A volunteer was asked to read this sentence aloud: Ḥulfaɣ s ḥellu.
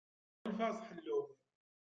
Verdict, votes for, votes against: rejected, 0, 2